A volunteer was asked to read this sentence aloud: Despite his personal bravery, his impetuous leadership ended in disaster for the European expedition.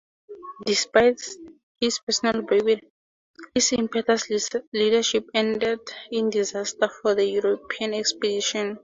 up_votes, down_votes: 2, 0